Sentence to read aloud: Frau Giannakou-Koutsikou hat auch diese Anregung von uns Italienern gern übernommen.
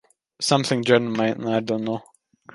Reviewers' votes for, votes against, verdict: 0, 2, rejected